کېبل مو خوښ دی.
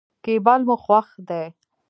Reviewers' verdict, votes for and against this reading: rejected, 1, 2